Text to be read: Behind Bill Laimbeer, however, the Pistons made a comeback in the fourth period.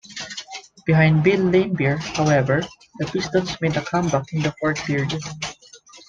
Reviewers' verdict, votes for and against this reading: accepted, 2, 0